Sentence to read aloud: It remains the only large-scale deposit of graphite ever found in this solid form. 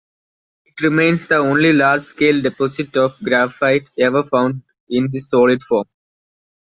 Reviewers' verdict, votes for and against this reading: rejected, 1, 2